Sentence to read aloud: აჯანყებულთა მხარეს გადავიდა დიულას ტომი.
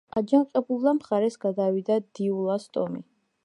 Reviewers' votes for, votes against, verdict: 2, 1, accepted